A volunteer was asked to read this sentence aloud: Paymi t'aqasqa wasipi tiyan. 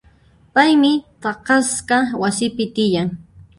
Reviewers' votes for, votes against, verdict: 1, 2, rejected